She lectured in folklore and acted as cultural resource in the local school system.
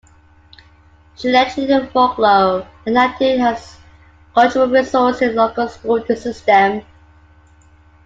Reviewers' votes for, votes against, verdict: 0, 2, rejected